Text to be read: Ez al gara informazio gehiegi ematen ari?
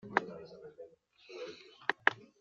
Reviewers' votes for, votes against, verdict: 1, 2, rejected